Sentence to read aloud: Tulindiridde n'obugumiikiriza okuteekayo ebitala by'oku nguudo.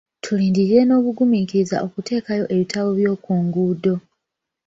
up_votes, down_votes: 1, 2